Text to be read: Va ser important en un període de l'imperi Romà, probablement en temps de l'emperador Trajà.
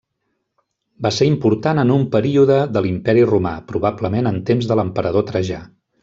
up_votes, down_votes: 1, 2